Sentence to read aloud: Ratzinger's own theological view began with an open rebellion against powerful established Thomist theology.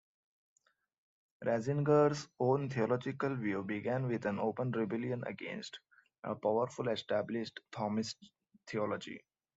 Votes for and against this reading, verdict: 2, 0, accepted